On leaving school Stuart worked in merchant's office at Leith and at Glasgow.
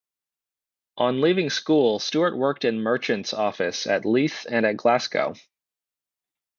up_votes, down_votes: 0, 2